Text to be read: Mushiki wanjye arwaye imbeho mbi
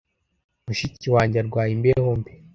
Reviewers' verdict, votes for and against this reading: accepted, 2, 0